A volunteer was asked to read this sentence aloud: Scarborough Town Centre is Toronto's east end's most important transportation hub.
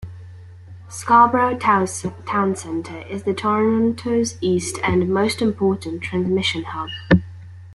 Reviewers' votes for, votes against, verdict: 1, 2, rejected